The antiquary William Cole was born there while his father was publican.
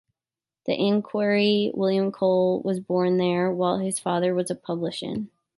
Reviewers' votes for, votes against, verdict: 1, 2, rejected